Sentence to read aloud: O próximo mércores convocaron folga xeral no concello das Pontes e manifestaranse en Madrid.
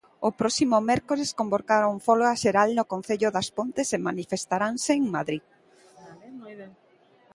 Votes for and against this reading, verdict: 2, 0, accepted